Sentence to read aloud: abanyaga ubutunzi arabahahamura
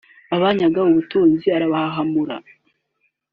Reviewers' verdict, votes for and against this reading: accepted, 3, 0